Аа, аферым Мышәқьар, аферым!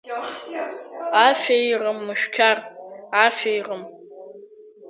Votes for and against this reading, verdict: 0, 2, rejected